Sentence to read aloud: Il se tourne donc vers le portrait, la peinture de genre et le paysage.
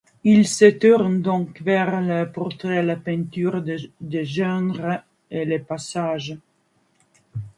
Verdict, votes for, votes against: rejected, 1, 2